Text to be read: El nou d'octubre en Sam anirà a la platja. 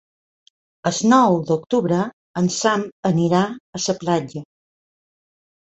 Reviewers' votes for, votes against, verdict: 1, 2, rejected